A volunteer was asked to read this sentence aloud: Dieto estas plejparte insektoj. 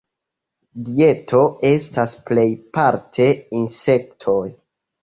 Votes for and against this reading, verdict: 2, 0, accepted